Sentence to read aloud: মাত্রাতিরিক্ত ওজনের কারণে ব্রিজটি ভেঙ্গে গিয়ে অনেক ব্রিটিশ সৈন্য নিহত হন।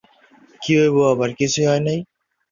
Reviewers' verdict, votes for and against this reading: rejected, 0, 2